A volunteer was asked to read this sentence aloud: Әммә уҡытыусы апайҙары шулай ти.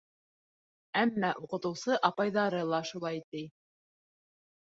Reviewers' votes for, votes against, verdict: 0, 3, rejected